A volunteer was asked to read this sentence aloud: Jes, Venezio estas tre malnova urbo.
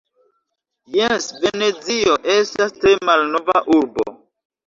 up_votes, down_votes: 2, 0